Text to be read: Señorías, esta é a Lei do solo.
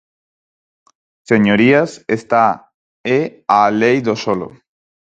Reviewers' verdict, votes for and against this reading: rejected, 2, 2